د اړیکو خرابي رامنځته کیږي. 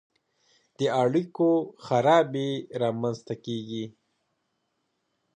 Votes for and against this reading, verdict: 2, 0, accepted